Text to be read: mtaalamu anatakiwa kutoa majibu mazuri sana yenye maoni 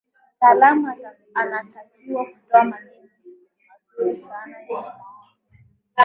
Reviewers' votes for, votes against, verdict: 1, 3, rejected